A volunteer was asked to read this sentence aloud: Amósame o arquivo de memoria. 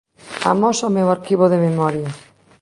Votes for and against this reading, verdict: 1, 3, rejected